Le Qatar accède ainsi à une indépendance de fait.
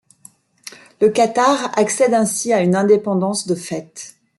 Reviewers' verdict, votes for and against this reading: rejected, 1, 2